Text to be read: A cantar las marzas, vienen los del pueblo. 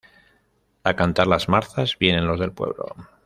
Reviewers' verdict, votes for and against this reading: rejected, 1, 2